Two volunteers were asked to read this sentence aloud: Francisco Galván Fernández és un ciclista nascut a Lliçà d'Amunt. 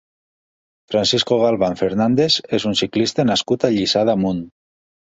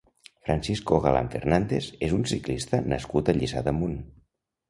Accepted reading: first